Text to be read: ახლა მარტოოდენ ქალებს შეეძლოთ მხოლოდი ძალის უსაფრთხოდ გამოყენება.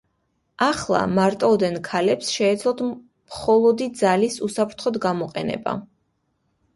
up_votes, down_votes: 2, 0